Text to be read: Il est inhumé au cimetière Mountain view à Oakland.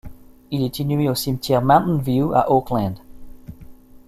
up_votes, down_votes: 1, 2